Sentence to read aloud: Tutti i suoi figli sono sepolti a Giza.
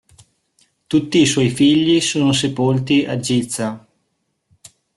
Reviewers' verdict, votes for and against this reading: rejected, 0, 2